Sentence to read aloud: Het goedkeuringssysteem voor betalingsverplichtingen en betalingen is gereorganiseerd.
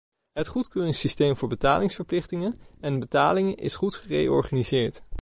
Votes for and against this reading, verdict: 2, 0, accepted